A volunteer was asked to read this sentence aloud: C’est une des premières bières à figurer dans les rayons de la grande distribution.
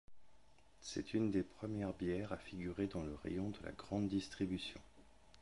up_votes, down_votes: 0, 2